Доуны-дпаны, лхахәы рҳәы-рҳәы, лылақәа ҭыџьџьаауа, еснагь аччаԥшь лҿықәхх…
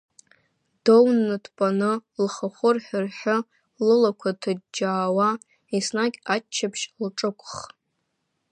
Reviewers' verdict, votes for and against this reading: rejected, 0, 2